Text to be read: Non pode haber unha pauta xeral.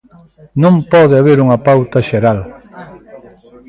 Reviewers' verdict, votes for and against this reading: accepted, 2, 0